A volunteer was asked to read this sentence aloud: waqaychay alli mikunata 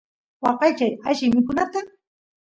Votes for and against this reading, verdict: 2, 0, accepted